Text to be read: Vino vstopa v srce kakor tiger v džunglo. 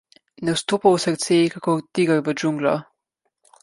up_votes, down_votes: 0, 2